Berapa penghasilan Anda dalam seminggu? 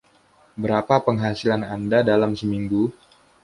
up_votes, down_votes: 2, 0